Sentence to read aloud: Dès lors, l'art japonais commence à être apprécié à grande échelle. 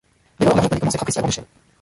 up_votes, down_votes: 0, 2